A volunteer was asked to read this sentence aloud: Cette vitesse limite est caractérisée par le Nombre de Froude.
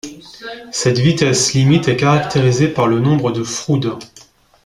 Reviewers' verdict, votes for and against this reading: rejected, 0, 2